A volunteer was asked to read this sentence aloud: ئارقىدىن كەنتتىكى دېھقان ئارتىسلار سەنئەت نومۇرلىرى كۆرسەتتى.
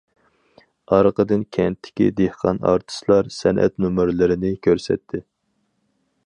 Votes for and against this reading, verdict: 0, 4, rejected